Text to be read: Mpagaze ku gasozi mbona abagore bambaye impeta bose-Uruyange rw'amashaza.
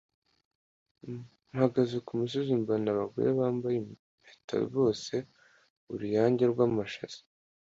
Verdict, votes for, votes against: accepted, 3, 0